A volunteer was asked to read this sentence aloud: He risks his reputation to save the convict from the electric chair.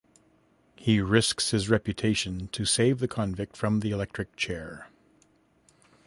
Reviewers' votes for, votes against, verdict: 2, 0, accepted